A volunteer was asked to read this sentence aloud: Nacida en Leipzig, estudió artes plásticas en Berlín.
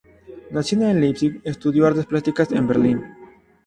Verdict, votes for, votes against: accepted, 2, 0